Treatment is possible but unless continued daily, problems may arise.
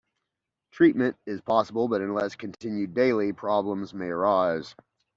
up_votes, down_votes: 2, 0